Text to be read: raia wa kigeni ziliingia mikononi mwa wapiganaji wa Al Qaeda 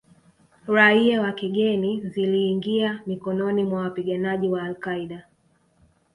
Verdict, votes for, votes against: rejected, 1, 2